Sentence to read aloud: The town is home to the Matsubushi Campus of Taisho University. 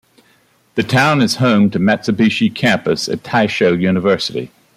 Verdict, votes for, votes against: accepted, 2, 0